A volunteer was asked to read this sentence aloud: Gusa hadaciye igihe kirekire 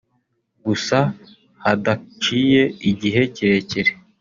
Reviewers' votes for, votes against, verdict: 4, 0, accepted